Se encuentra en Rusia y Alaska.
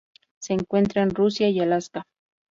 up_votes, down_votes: 2, 0